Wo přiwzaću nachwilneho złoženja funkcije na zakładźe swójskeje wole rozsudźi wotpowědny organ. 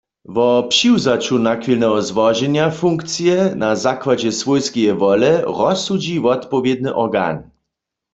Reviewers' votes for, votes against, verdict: 2, 0, accepted